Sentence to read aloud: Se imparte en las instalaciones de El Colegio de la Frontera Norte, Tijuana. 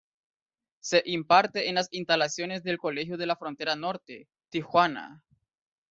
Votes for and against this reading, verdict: 0, 2, rejected